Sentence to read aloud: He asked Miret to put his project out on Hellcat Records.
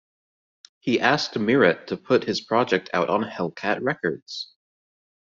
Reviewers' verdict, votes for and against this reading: accepted, 2, 0